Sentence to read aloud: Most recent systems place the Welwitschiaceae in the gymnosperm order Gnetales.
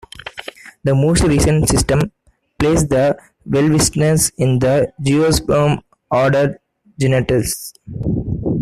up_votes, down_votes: 0, 2